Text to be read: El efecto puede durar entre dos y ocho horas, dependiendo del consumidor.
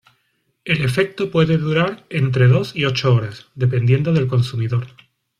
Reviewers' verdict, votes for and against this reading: rejected, 0, 2